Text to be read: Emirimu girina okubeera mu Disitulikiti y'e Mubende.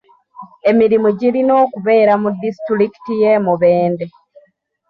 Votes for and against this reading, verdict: 1, 2, rejected